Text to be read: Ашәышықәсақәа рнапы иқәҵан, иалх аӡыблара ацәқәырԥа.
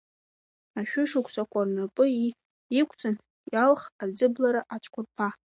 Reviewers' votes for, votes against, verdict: 3, 1, accepted